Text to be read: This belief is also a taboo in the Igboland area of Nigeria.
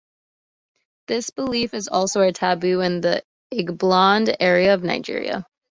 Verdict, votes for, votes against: accepted, 2, 0